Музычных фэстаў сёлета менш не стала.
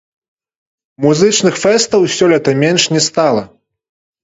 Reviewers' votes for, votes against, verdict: 0, 2, rejected